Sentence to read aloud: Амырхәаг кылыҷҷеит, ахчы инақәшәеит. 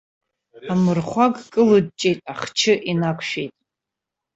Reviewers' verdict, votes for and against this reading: rejected, 1, 2